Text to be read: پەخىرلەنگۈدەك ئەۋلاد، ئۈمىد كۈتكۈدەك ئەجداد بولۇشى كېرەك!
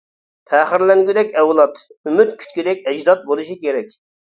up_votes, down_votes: 2, 0